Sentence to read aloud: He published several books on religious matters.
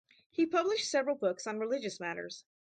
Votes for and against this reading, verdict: 0, 2, rejected